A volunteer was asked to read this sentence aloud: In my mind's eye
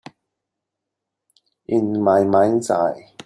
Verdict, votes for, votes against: accepted, 3, 0